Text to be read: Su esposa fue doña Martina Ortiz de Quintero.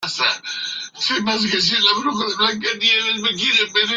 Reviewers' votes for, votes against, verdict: 0, 2, rejected